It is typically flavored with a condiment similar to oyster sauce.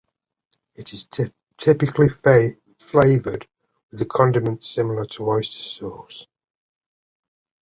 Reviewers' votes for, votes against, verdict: 0, 2, rejected